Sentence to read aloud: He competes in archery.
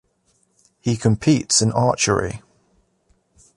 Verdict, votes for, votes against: accepted, 2, 0